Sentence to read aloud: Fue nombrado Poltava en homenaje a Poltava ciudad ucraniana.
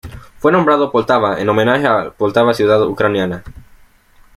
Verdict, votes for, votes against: rejected, 1, 2